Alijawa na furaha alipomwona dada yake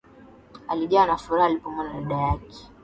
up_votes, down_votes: 2, 1